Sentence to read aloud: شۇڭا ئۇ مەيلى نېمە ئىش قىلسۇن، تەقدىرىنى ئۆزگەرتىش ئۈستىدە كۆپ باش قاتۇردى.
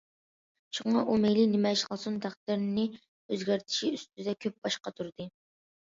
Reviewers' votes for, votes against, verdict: 1, 2, rejected